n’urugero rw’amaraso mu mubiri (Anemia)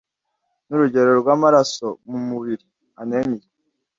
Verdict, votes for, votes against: accepted, 2, 0